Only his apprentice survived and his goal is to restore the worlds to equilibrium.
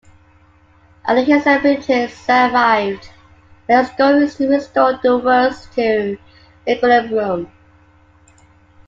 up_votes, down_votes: 1, 2